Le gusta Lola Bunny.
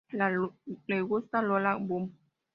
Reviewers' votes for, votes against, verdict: 0, 2, rejected